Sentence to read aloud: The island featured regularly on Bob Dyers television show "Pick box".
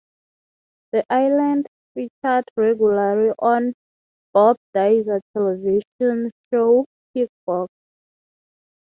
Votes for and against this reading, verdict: 3, 3, rejected